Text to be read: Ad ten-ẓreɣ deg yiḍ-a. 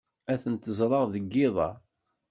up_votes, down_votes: 2, 0